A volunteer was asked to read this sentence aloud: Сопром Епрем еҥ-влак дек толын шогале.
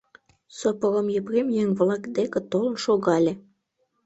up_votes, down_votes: 1, 2